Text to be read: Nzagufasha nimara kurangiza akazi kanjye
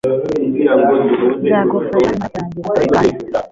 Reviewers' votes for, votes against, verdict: 1, 2, rejected